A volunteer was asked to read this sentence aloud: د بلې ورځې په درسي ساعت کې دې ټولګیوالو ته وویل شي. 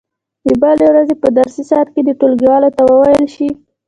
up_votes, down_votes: 2, 1